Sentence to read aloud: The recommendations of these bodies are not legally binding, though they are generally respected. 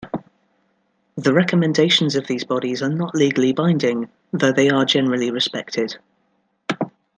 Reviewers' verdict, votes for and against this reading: accepted, 2, 0